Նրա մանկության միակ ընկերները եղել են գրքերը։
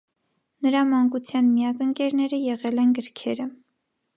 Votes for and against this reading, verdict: 2, 0, accepted